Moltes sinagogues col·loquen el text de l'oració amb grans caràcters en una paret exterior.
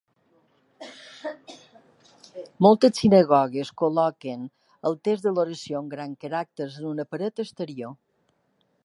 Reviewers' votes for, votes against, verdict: 1, 3, rejected